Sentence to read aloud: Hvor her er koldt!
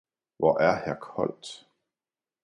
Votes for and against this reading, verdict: 1, 2, rejected